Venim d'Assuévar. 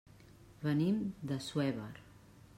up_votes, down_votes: 2, 0